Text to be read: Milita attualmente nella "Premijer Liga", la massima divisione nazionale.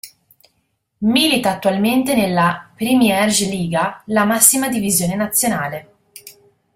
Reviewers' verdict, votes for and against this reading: rejected, 1, 2